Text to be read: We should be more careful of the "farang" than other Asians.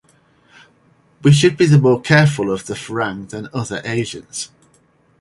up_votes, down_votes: 0, 4